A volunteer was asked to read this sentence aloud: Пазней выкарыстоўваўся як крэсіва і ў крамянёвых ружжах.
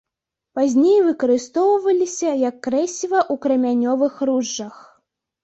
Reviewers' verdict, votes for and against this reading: rejected, 0, 3